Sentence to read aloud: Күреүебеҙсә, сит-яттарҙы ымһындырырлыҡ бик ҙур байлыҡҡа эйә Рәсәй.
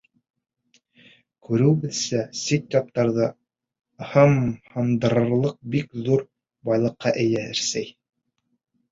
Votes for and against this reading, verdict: 2, 0, accepted